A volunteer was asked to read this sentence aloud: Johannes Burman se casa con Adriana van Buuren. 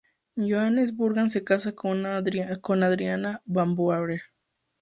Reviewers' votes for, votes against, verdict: 0, 2, rejected